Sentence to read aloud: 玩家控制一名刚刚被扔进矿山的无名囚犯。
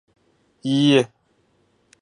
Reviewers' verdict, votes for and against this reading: rejected, 0, 2